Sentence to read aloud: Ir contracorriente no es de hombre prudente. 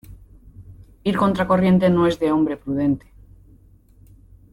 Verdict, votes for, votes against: accepted, 2, 0